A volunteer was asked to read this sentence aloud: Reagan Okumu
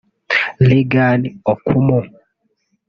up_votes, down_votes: 0, 2